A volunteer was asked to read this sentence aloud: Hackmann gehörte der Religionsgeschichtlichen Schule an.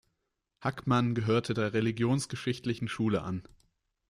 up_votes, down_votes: 2, 1